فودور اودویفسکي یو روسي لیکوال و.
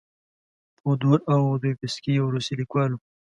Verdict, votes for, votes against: accepted, 2, 0